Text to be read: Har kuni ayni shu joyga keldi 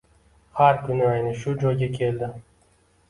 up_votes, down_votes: 1, 2